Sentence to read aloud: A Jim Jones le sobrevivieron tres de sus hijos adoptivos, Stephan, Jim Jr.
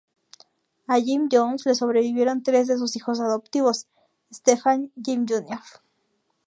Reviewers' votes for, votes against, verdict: 2, 0, accepted